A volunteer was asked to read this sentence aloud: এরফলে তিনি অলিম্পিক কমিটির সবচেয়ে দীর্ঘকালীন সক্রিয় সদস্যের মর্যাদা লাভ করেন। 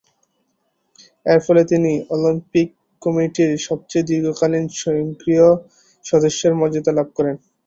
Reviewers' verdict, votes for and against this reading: rejected, 1, 3